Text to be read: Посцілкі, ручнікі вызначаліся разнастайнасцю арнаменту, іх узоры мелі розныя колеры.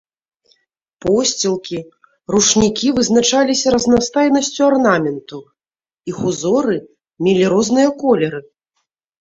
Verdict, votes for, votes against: accepted, 2, 1